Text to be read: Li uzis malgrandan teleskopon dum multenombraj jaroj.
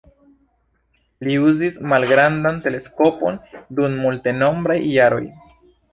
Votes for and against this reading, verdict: 1, 2, rejected